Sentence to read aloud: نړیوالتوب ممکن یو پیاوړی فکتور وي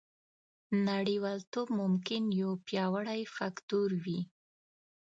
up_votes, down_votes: 1, 2